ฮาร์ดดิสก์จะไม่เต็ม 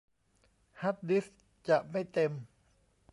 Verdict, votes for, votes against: accepted, 2, 0